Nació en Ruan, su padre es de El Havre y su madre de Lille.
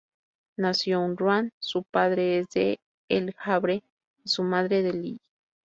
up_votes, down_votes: 0, 2